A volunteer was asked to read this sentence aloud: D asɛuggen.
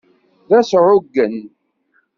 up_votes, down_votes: 2, 0